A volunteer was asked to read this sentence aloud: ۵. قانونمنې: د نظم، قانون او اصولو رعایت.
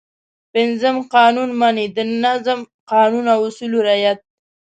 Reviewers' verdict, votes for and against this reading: rejected, 0, 2